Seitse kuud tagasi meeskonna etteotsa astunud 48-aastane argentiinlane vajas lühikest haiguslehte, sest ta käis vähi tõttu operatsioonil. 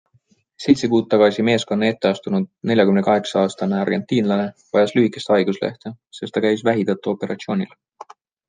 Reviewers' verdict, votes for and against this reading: rejected, 0, 2